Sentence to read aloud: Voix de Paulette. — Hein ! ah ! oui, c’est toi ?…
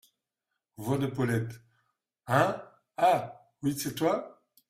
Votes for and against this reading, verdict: 2, 0, accepted